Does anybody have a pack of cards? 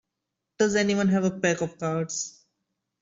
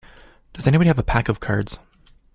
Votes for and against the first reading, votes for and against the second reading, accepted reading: 1, 2, 2, 0, second